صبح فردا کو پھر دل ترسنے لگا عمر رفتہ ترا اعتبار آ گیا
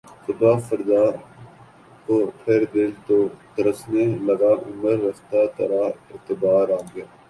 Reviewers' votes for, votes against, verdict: 1, 2, rejected